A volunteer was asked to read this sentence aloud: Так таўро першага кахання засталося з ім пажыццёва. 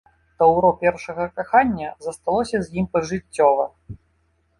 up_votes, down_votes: 1, 2